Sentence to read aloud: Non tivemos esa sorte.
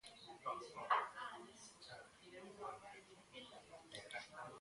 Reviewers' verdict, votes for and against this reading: rejected, 0, 2